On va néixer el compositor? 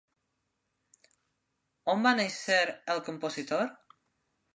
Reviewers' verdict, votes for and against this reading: accepted, 3, 0